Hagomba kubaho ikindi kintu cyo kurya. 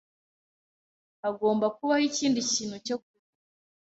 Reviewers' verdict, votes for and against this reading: rejected, 1, 2